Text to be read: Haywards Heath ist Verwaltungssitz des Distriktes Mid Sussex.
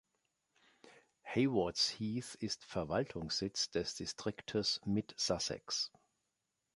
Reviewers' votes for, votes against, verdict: 2, 0, accepted